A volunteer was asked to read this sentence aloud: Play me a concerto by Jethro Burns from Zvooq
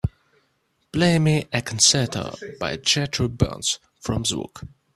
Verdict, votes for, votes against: accepted, 2, 0